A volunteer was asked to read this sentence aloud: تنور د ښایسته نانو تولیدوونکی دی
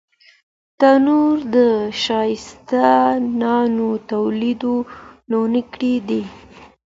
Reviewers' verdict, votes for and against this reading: accepted, 2, 1